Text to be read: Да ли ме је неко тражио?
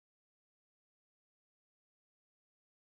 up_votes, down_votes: 0, 2